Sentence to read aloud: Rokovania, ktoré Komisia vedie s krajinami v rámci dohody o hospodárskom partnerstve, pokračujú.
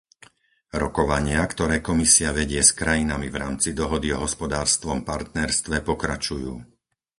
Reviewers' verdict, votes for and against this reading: rejected, 0, 4